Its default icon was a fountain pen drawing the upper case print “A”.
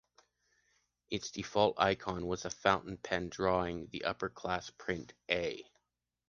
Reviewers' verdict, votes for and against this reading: rejected, 1, 2